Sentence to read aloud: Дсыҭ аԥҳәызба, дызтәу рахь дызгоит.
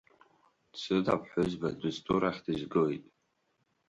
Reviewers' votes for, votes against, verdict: 3, 0, accepted